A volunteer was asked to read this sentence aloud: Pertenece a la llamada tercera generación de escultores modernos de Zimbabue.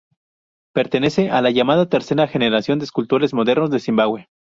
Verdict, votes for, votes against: rejected, 0, 2